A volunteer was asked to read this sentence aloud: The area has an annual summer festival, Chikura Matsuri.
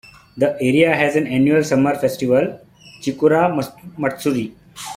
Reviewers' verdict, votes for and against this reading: rejected, 1, 2